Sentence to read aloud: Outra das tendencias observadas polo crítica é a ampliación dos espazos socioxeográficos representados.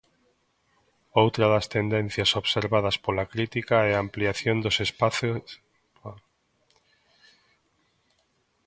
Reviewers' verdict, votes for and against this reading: rejected, 0, 2